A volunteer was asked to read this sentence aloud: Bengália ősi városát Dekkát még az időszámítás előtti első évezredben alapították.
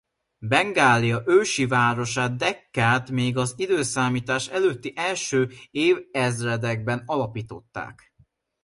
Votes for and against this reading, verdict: 0, 2, rejected